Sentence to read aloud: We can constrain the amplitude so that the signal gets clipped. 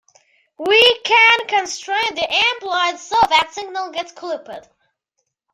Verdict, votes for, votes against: rejected, 1, 2